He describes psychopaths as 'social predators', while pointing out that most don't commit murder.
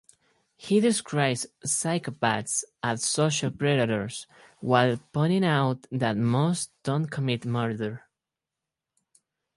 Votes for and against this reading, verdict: 2, 0, accepted